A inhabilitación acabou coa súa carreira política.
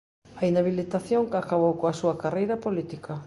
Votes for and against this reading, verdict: 2, 0, accepted